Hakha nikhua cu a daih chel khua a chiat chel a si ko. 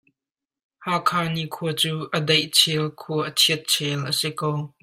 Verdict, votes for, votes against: accepted, 2, 0